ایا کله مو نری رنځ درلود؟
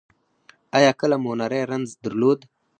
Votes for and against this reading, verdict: 4, 0, accepted